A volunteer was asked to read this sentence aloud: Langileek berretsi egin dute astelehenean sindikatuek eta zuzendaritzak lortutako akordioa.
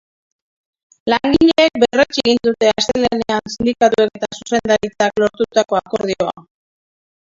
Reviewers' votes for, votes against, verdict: 0, 2, rejected